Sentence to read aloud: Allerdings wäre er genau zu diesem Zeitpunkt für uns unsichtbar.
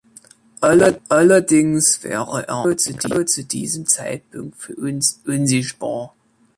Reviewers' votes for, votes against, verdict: 0, 2, rejected